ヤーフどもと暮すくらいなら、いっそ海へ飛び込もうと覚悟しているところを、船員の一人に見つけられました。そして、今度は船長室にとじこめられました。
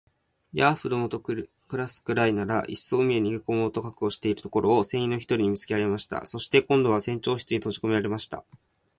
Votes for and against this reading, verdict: 3, 0, accepted